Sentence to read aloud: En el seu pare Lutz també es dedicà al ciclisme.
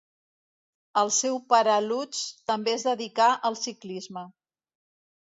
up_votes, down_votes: 1, 2